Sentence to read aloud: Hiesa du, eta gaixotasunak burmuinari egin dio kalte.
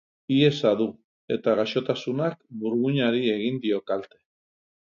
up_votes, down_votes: 2, 0